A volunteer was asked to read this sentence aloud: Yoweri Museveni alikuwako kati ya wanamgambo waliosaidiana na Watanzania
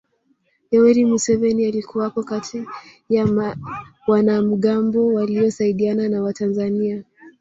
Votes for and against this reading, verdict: 1, 3, rejected